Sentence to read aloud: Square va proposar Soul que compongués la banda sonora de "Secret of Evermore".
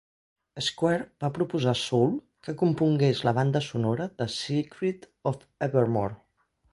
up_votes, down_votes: 3, 0